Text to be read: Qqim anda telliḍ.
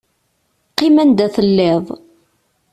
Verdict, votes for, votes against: accepted, 2, 0